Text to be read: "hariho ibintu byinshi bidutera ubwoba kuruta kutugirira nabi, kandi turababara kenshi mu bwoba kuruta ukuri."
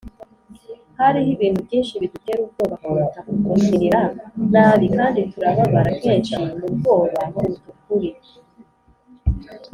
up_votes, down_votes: 2, 0